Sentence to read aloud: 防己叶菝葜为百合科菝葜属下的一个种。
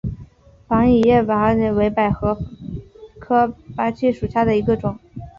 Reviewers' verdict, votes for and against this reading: rejected, 0, 4